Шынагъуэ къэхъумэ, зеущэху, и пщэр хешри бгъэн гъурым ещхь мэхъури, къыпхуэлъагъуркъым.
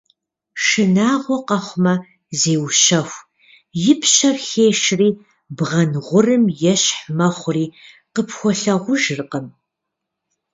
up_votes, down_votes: 1, 2